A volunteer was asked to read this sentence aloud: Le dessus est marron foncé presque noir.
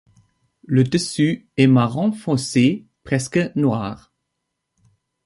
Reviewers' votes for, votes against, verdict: 3, 1, accepted